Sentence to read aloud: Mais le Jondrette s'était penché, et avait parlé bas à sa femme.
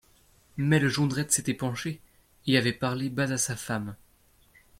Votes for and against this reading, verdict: 1, 2, rejected